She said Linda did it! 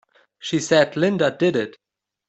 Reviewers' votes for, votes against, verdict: 2, 0, accepted